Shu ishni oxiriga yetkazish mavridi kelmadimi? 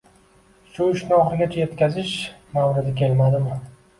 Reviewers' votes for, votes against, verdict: 2, 1, accepted